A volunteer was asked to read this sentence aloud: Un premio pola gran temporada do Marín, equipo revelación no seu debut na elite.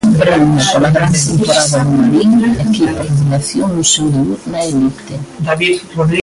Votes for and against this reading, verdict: 0, 3, rejected